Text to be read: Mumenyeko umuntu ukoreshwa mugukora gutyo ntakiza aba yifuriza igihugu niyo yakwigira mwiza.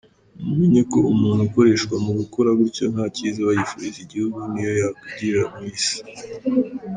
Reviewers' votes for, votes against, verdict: 1, 2, rejected